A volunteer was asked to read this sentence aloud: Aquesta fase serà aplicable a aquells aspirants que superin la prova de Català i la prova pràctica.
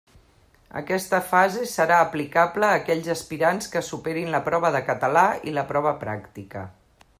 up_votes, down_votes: 3, 0